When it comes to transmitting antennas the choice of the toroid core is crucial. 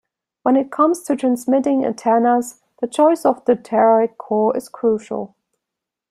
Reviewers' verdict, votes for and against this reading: rejected, 1, 2